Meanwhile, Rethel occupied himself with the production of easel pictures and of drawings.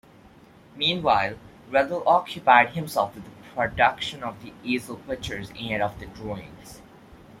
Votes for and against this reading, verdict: 2, 1, accepted